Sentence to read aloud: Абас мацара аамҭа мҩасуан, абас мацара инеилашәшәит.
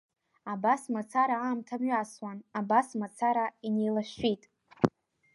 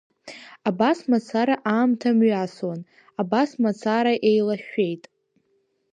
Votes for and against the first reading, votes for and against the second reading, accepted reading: 2, 0, 1, 2, first